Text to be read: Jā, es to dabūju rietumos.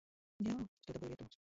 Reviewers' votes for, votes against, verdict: 0, 3, rejected